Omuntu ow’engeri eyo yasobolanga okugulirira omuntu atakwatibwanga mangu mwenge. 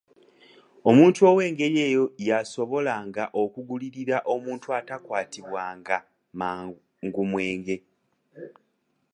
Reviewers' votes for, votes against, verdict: 2, 0, accepted